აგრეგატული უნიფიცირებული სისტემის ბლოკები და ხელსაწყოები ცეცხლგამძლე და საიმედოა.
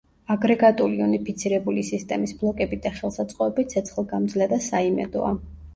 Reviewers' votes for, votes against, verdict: 2, 0, accepted